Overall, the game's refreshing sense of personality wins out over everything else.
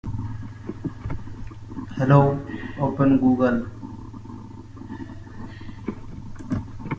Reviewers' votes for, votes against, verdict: 0, 2, rejected